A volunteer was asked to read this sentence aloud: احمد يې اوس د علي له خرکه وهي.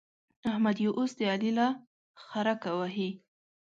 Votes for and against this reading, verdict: 2, 0, accepted